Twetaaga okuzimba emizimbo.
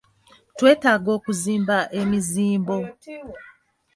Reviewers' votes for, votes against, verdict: 2, 0, accepted